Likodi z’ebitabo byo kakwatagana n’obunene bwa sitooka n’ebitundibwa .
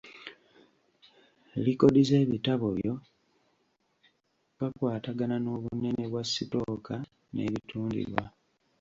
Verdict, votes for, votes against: rejected, 1, 2